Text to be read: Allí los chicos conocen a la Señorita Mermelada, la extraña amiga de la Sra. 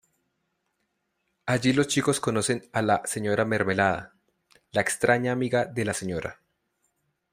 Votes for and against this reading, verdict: 1, 2, rejected